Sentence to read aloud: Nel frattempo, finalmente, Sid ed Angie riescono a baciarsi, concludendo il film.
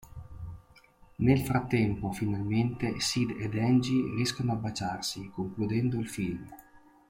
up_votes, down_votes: 1, 2